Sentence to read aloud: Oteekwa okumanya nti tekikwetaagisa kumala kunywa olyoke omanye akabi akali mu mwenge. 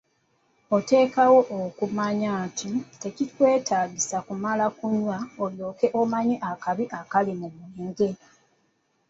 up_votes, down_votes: 0, 2